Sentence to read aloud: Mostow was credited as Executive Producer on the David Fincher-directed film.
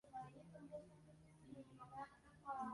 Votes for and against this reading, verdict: 0, 2, rejected